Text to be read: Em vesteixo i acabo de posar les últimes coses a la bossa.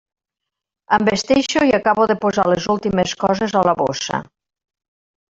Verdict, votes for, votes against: accepted, 2, 0